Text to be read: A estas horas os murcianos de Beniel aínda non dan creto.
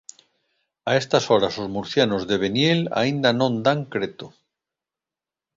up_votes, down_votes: 2, 0